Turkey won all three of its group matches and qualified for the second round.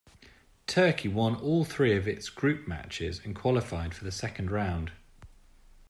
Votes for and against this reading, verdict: 2, 0, accepted